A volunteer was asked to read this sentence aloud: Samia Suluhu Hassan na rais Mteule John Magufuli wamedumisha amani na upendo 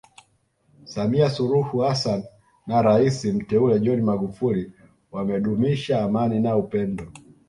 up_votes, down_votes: 2, 0